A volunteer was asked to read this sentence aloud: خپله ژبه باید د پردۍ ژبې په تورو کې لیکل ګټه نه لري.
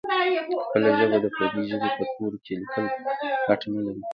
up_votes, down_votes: 0, 2